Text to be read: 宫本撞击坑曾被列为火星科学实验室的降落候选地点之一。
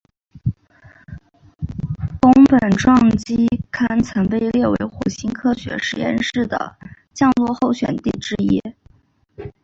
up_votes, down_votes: 2, 0